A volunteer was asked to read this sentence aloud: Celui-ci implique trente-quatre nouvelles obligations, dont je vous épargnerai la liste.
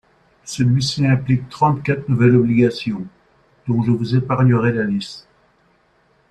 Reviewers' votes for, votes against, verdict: 2, 0, accepted